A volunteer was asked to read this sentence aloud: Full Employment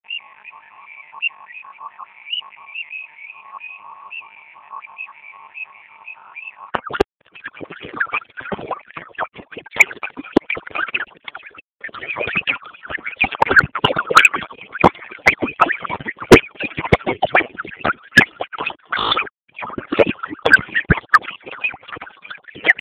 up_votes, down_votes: 0, 2